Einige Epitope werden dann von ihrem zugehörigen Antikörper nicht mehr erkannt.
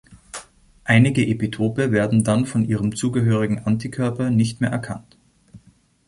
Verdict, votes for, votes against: accepted, 2, 0